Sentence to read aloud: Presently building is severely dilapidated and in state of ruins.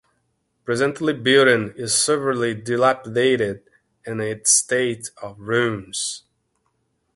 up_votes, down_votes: 2, 0